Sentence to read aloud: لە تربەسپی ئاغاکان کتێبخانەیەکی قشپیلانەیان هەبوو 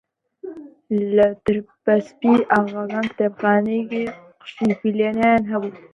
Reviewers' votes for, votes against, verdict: 0, 2, rejected